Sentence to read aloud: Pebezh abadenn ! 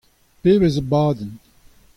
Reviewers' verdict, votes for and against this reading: accepted, 2, 0